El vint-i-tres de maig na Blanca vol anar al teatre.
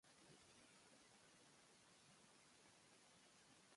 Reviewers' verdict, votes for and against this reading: rejected, 0, 2